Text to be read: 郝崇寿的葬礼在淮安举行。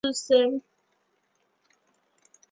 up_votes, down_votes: 0, 2